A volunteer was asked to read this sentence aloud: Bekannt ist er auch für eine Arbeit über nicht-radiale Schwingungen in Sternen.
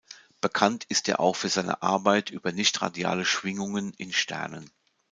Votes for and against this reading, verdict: 0, 2, rejected